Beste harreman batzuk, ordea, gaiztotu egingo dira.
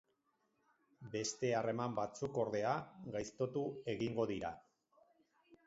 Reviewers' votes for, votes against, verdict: 2, 0, accepted